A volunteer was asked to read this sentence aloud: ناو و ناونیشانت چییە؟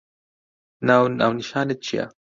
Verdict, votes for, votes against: accepted, 2, 0